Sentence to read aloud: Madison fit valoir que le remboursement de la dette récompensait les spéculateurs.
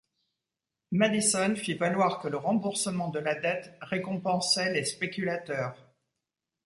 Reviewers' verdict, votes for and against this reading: accepted, 2, 0